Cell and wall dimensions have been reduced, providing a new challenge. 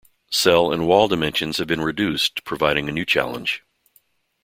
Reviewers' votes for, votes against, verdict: 2, 1, accepted